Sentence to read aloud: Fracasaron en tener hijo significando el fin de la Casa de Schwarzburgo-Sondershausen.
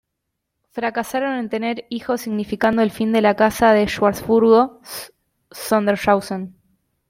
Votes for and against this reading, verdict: 1, 2, rejected